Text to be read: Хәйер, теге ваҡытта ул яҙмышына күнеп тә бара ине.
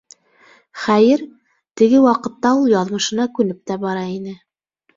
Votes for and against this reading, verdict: 1, 2, rejected